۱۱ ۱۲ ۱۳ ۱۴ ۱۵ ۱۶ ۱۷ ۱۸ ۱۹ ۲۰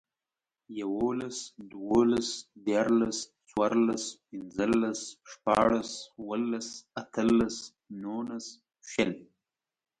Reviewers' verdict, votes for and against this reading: rejected, 0, 2